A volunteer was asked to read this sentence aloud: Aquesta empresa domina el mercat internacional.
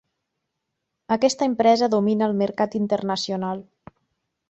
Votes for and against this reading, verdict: 3, 0, accepted